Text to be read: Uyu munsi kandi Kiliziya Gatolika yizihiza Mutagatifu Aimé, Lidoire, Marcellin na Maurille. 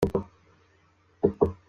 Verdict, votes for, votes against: rejected, 0, 2